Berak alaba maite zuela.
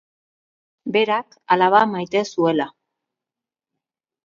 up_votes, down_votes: 2, 0